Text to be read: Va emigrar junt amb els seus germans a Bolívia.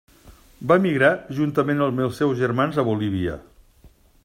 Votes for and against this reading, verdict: 1, 2, rejected